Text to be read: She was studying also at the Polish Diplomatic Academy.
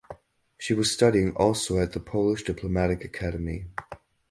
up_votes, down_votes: 4, 0